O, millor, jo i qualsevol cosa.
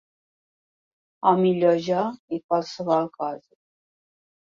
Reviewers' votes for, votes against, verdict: 0, 2, rejected